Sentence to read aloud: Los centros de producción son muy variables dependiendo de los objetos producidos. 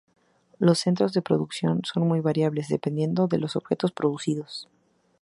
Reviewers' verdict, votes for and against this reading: accepted, 2, 0